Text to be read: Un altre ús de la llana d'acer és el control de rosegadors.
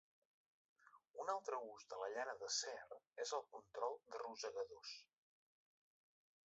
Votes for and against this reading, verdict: 2, 0, accepted